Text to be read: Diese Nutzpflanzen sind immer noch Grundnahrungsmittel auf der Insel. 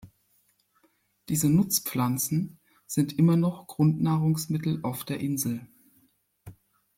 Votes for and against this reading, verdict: 2, 0, accepted